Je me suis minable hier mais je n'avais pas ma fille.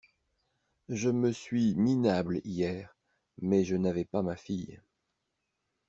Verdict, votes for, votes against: accepted, 2, 1